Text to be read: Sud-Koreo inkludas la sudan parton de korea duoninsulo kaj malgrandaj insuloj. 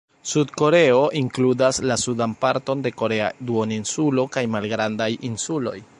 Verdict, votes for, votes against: rejected, 0, 2